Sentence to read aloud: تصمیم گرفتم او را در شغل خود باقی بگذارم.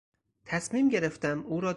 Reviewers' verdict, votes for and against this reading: rejected, 0, 4